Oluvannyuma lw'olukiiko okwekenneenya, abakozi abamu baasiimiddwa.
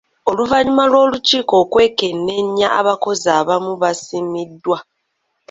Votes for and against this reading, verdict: 0, 2, rejected